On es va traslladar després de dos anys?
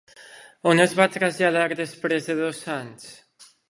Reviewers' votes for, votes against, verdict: 3, 0, accepted